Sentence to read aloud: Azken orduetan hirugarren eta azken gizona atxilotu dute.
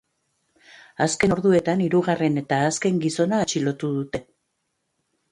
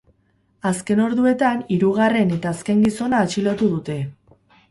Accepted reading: first